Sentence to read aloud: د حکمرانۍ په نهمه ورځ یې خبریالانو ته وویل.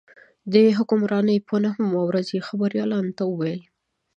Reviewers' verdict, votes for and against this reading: rejected, 1, 2